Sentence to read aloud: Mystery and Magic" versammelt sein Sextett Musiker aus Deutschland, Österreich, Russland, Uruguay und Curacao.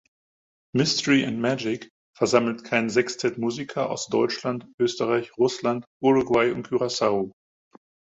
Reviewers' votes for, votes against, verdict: 0, 4, rejected